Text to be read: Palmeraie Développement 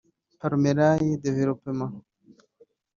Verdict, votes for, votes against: rejected, 1, 2